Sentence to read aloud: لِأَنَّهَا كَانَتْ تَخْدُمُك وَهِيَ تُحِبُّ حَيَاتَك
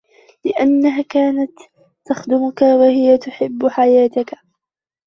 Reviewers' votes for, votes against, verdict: 1, 2, rejected